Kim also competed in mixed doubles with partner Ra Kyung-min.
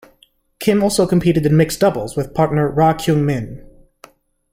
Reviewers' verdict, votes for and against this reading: accepted, 2, 0